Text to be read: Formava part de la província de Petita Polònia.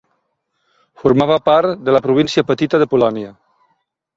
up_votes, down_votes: 0, 2